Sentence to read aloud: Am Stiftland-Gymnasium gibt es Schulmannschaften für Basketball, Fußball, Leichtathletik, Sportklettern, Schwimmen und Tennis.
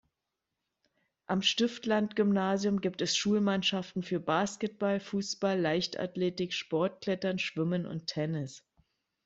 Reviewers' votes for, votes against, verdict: 2, 0, accepted